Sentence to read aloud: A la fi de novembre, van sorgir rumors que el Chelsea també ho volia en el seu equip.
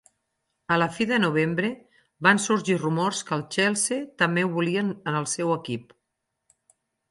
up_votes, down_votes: 0, 4